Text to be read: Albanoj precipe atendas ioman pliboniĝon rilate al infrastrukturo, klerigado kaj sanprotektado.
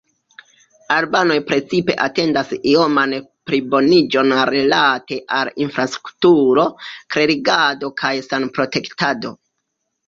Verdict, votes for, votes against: accepted, 2, 0